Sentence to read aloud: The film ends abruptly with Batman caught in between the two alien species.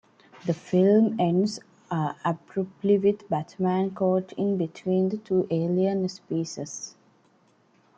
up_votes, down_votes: 2, 1